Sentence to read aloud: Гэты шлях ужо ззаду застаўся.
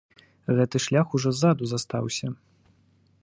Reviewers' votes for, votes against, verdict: 2, 0, accepted